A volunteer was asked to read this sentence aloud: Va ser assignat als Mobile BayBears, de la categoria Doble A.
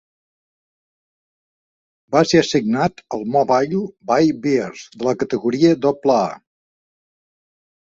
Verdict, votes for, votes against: rejected, 3, 4